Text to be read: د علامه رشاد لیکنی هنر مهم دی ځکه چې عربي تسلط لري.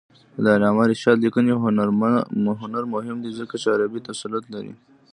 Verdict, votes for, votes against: rejected, 0, 2